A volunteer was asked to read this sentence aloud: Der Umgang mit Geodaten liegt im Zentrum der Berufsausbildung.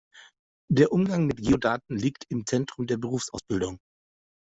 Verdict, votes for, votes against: accepted, 2, 0